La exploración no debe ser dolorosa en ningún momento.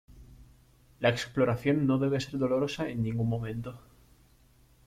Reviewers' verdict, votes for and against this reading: rejected, 0, 2